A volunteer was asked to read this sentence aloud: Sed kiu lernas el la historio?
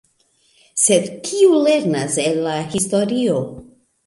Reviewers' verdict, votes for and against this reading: accepted, 2, 0